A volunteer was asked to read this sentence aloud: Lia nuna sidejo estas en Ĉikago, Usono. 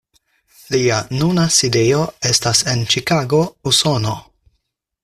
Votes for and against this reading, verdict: 4, 0, accepted